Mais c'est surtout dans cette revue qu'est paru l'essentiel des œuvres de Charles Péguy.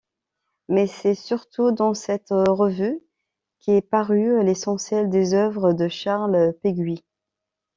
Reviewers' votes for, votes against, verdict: 1, 2, rejected